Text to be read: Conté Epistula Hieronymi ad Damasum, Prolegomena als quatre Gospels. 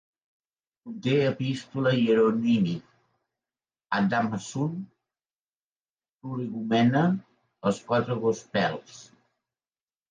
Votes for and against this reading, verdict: 1, 2, rejected